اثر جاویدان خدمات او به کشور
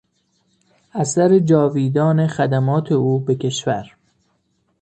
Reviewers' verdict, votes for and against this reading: accepted, 2, 0